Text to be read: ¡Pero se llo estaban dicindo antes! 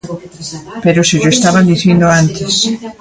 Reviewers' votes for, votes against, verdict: 2, 0, accepted